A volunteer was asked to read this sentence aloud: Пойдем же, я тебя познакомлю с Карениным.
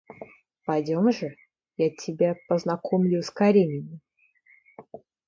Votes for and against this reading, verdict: 2, 0, accepted